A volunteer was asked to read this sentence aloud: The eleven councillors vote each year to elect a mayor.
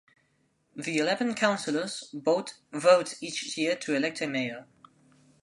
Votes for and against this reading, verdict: 0, 2, rejected